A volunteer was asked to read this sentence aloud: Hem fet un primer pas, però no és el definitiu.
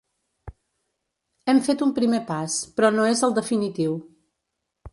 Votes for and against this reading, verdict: 3, 0, accepted